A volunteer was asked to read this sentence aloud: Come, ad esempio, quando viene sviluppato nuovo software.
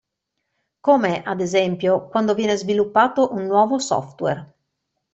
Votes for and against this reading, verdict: 1, 2, rejected